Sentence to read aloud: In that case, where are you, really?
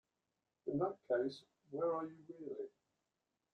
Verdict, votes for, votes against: accepted, 2, 0